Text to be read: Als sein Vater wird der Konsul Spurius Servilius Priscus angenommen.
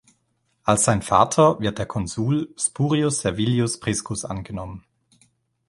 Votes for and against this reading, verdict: 3, 0, accepted